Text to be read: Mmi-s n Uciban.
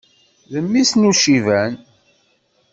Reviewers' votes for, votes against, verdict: 2, 0, accepted